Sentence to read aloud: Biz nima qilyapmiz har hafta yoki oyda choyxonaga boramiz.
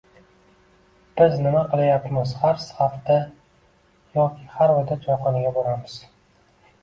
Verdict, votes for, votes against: rejected, 0, 2